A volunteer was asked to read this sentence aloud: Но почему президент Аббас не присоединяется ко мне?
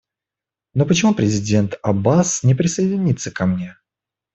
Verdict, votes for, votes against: accepted, 2, 1